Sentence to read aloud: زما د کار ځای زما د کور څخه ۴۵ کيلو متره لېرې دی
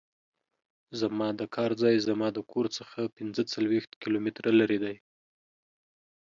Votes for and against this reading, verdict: 0, 2, rejected